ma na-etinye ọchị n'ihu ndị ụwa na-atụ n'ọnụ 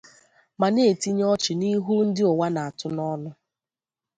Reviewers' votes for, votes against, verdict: 2, 0, accepted